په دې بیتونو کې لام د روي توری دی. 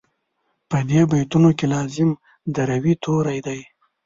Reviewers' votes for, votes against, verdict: 0, 2, rejected